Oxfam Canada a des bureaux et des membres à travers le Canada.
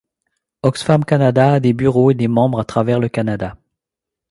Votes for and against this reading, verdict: 2, 0, accepted